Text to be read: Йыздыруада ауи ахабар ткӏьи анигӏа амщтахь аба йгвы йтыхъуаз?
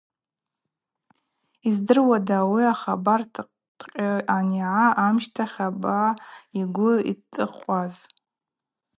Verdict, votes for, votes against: rejected, 0, 2